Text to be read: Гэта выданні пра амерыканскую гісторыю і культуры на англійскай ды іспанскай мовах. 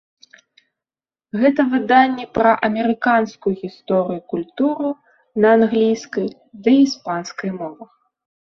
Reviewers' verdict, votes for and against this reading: rejected, 1, 2